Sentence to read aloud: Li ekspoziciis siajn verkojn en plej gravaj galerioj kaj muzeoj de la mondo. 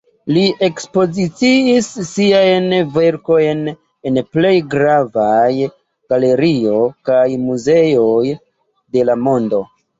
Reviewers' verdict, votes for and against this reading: rejected, 1, 2